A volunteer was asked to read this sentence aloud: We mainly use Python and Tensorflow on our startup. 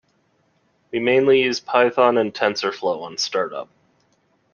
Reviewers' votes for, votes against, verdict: 1, 2, rejected